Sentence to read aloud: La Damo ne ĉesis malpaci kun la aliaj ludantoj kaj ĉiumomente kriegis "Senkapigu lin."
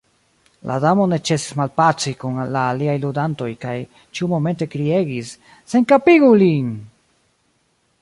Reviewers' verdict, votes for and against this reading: rejected, 0, 2